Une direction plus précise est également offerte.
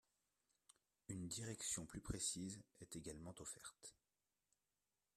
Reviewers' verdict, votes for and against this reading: rejected, 1, 2